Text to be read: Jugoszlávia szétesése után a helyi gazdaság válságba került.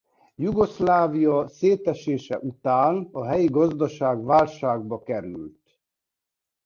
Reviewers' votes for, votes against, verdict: 2, 0, accepted